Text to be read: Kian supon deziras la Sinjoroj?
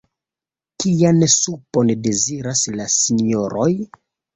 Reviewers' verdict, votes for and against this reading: accepted, 2, 1